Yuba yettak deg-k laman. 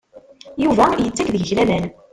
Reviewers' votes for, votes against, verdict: 1, 2, rejected